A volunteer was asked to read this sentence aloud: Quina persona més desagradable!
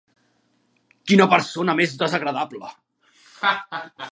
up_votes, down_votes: 0, 2